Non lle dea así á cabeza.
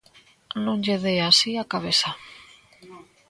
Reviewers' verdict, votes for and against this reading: rejected, 1, 2